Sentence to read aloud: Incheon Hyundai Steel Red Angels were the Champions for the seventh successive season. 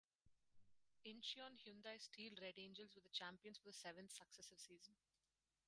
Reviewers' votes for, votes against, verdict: 0, 4, rejected